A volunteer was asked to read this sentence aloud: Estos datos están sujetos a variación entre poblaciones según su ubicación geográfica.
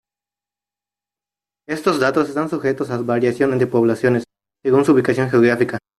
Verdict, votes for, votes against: rejected, 0, 2